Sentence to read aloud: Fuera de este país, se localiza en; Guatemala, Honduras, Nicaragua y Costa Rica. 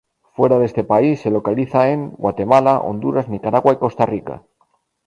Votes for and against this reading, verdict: 2, 0, accepted